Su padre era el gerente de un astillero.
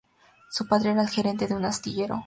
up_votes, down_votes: 2, 0